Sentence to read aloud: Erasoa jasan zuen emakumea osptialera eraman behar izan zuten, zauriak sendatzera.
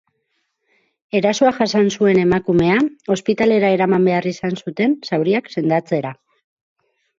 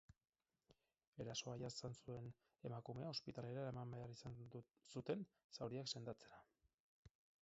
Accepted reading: first